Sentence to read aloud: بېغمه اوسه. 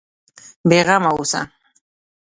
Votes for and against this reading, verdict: 1, 2, rejected